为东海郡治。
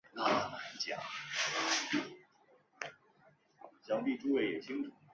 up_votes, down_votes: 0, 3